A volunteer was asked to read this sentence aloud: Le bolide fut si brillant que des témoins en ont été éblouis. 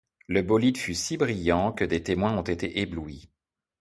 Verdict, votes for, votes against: rejected, 0, 2